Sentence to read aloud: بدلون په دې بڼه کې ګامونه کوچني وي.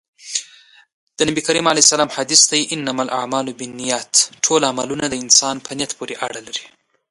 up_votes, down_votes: 0, 2